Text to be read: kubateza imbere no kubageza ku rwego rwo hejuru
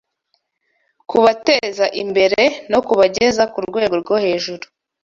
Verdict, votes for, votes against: accepted, 2, 0